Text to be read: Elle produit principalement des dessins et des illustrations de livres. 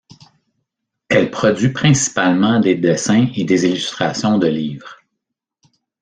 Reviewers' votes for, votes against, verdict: 2, 0, accepted